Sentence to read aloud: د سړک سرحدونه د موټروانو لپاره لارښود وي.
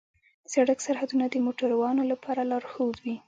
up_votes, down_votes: 2, 1